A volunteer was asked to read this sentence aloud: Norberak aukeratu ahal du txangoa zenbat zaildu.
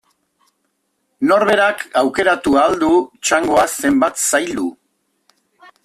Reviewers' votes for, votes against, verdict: 2, 0, accepted